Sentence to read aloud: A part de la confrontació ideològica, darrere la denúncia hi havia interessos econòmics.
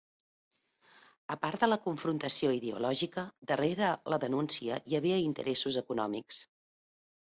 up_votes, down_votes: 2, 0